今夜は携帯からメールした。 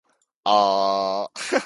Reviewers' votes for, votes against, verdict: 0, 2, rejected